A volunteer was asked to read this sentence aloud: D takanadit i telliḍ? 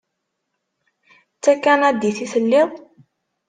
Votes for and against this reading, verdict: 2, 0, accepted